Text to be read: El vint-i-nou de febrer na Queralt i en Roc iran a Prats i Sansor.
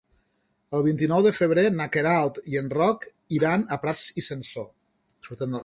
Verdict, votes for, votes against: accepted, 3, 1